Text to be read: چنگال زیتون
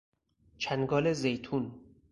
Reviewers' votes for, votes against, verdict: 4, 0, accepted